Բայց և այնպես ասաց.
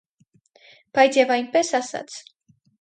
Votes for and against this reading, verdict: 4, 0, accepted